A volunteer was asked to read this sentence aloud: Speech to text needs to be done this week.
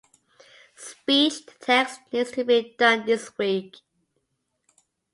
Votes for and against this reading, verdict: 2, 0, accepted